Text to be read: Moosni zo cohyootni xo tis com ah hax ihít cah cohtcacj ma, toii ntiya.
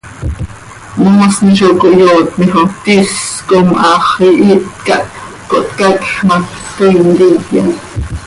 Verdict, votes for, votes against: accepted, 2, 0